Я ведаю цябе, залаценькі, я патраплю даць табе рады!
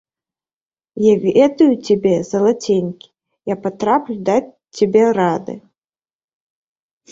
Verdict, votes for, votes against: rejected, 1, 2